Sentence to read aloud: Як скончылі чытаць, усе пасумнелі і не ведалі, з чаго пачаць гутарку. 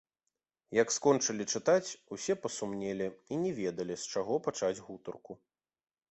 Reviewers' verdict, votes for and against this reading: accepted, 2, 0